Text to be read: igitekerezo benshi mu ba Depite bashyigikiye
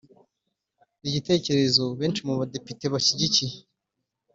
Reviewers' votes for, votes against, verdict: 1, 2, rejected